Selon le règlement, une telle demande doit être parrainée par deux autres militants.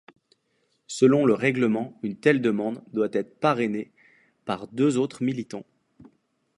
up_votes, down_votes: 2, 0